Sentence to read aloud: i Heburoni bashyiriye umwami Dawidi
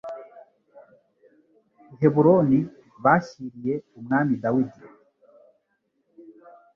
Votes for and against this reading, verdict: 3, 0, accepted